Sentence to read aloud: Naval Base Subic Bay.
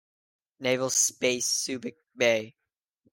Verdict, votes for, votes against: rejected, 1, 2